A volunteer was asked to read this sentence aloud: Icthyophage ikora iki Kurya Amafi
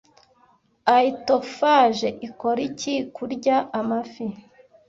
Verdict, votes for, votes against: rejected, 0, 2